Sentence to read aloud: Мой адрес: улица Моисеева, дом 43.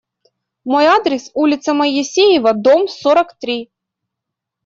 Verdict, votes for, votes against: rejected, 0, 2